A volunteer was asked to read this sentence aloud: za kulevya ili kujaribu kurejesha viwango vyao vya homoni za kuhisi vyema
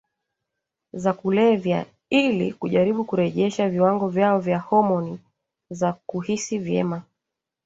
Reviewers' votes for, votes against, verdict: 3, 2, accepted